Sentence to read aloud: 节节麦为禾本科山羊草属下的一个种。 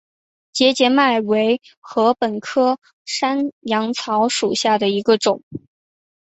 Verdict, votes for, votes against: accepted, 6, 0